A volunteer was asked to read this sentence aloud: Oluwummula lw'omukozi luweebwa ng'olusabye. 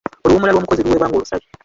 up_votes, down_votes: 0, 2